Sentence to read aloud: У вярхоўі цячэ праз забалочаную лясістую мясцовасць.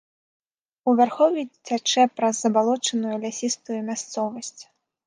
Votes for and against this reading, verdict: 2, 1, accepted